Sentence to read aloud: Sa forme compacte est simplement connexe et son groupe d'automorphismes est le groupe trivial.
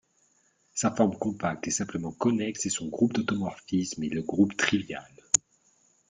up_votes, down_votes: 1, 2